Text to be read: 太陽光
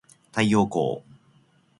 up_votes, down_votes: 2, 0